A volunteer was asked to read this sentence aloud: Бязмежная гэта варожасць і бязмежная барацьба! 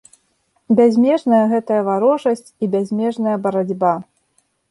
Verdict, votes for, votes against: rejected, 0, 2